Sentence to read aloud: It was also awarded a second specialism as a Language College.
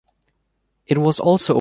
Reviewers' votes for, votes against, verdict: 0, 2, rejected